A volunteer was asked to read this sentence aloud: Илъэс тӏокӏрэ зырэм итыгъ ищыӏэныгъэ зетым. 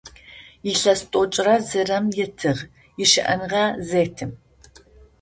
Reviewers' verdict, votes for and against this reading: accepted, 2, 0